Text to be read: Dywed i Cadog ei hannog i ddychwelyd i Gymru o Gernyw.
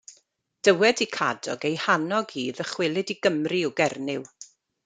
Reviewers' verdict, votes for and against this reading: accepted, 2, 1